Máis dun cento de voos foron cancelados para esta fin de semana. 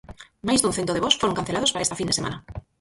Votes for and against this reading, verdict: 0, 4, rejected